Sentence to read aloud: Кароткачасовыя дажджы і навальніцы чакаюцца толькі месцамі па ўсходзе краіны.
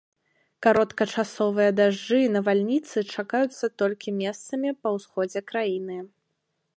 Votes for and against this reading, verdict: 2, 0, accepted